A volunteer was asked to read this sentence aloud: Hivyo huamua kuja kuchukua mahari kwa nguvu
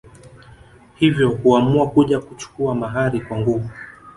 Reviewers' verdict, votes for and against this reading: accepted, 2, 1